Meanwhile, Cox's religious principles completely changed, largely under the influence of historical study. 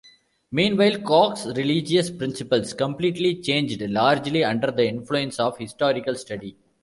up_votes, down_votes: 0, 2